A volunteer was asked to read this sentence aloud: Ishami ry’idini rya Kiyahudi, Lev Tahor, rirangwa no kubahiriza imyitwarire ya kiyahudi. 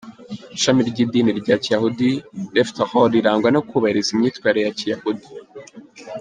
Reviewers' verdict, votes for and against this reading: rejected, 0, 2